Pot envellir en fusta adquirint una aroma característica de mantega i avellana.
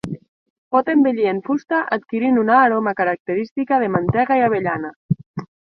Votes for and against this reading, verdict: 0, 2, rejected